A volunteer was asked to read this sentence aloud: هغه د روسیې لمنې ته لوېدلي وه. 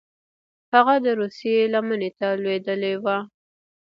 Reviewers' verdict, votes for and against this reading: rejected, 1, 2